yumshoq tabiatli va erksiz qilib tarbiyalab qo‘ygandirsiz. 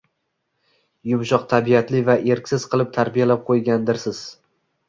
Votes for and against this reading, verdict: 1, 2, rejected